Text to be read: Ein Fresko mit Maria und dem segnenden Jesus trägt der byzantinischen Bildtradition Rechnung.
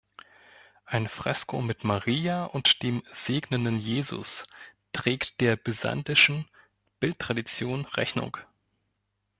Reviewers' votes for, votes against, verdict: 1, 3, rejected